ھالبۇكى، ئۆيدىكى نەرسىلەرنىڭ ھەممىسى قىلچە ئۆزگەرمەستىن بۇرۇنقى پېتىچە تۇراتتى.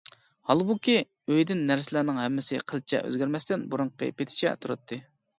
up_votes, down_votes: 0, 2